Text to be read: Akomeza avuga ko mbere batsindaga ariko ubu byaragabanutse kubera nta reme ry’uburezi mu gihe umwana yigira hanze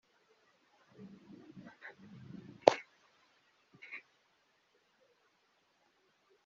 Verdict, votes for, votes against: rejected, 0, 2